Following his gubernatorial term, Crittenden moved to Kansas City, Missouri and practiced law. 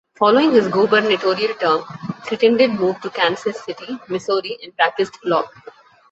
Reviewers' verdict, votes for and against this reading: accepted, 2, 0